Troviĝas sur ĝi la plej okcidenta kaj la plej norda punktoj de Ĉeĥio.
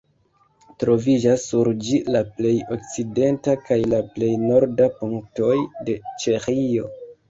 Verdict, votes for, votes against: rejected, 0, 2